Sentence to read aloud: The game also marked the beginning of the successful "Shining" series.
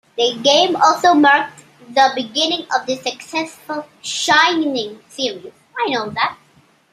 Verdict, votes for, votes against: rejected, 0, 2